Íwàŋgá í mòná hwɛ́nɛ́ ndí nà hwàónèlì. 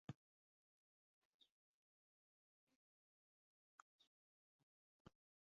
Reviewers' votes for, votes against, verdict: 0, 2, rejected